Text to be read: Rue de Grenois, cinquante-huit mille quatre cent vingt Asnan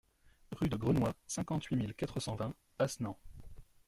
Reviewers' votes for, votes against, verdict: 1, 2, rejected